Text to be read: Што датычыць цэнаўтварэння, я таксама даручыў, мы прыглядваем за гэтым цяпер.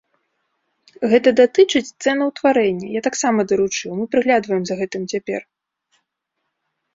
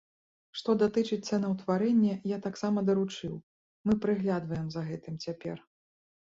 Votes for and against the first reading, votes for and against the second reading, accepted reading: 0, 2, 2, 0, second